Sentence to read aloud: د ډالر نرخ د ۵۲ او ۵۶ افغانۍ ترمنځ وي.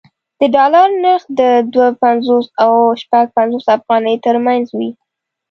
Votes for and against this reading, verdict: 0, 2, rejected